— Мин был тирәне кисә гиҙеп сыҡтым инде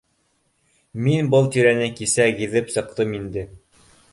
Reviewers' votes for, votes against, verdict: 2, 0, accepted